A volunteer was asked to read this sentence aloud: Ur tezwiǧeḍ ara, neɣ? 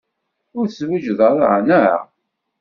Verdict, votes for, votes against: accepted, 2, 0